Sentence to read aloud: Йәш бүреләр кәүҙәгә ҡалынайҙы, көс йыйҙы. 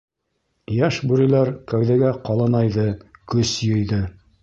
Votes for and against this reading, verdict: 1, 2, rejected